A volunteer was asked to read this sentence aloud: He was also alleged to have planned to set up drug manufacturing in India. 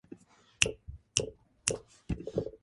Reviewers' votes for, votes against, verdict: 0, 2, rejected